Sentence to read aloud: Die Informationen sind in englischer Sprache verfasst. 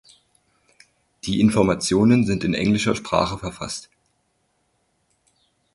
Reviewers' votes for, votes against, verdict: 4, 0, accepted